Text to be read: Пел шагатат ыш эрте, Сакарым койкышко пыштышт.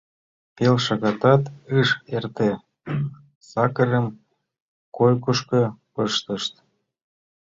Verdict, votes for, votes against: rejected, 1, 2